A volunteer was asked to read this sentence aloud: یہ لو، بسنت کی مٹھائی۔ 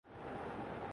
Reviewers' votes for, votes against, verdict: 0, 2, rejected